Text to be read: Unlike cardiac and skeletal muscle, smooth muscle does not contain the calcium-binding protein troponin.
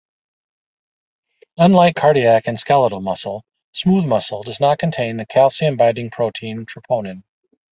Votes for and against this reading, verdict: 2, 0, accepted